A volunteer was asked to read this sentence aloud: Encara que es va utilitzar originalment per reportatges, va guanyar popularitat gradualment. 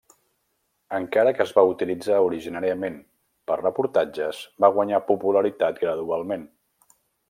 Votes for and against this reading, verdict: 0, 2, rejected